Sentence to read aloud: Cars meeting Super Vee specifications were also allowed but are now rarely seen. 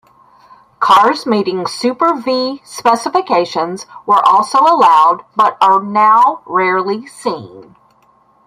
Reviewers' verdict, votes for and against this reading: rejected, 1, 2